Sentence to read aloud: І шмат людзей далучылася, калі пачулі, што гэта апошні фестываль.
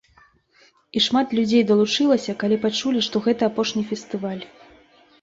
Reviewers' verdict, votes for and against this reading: accepted, 4, 0